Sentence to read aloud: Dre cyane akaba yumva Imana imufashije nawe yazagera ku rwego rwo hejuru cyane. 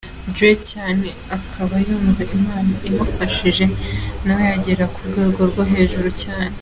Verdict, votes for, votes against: accepted, 2, 0